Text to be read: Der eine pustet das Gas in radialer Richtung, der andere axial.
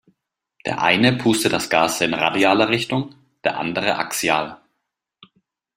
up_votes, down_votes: 2, 0